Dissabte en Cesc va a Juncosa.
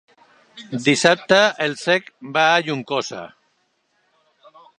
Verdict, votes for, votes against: rejected, 0, 2